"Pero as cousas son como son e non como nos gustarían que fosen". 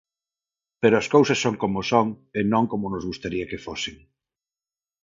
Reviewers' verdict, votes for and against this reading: rejected, 2, 2